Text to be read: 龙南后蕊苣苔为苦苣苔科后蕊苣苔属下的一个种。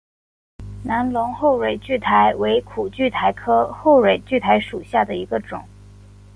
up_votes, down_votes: 4, 0